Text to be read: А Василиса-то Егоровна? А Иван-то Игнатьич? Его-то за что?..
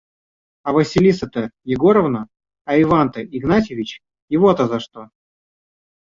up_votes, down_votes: 0, 2